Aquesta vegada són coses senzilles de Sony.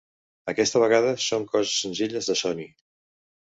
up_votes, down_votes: 2, 0